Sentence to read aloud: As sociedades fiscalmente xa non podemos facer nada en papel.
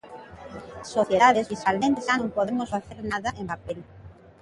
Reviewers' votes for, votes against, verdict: 0, 2, rejected